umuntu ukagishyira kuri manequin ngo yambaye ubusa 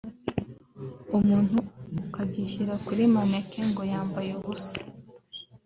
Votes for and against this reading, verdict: 2, 0, accepted